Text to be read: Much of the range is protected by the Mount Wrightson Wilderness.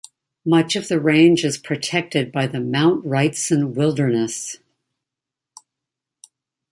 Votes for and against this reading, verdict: 2, 0, accepted